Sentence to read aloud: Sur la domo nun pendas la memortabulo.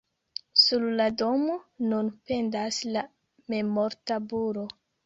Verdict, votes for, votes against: rejected, 1, 2